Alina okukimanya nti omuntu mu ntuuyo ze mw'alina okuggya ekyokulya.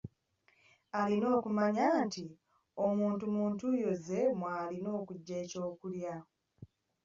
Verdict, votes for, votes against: rejected, 0, 2